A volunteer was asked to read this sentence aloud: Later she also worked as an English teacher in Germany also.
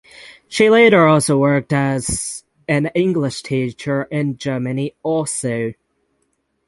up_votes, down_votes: 0, 6